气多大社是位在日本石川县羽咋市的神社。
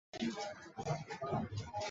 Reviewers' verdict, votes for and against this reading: rejected, 0, 2